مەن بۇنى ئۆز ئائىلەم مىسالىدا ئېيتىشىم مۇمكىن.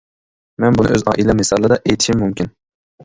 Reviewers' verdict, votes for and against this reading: rejected, 0, 2